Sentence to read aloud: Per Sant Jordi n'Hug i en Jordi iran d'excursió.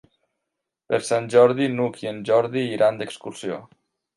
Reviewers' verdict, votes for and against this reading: accepted, 3, 0